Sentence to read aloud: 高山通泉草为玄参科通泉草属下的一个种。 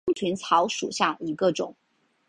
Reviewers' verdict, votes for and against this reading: accepted, 2, 1